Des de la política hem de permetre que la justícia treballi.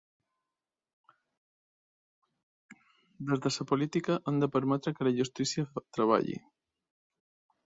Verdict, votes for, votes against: rejected, 1, 2